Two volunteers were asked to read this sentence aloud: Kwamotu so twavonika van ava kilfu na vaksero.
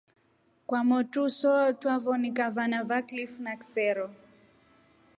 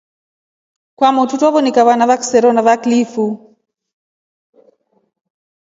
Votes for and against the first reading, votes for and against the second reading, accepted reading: 3, 0, 1, 2, first